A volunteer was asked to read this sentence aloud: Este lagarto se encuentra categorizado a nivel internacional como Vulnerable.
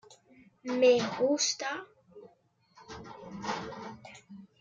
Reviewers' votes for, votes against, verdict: 0, 2, rejected